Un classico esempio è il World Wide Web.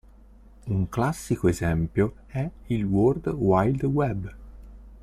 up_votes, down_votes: 0, 2